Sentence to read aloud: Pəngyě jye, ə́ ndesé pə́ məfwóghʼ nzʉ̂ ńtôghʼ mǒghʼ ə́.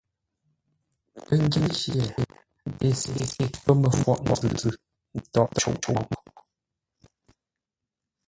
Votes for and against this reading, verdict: 0, 2, rejected